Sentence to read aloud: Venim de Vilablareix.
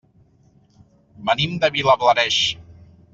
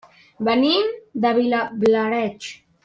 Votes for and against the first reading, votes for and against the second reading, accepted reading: 3, 0, 1, 2, first